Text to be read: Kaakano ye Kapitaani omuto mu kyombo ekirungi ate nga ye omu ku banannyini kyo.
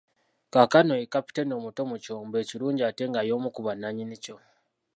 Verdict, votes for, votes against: rejected, 1, 2